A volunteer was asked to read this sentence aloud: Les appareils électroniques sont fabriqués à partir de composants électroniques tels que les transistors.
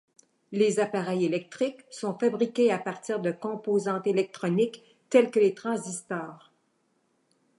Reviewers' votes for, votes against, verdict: 0, 2, rejected